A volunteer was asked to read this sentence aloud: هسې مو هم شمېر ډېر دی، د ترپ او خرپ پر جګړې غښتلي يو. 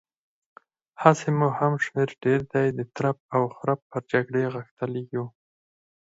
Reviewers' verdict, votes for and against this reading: accepted, 4, 0